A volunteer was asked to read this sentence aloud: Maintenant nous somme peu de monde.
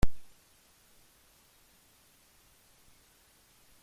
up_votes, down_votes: 0, 2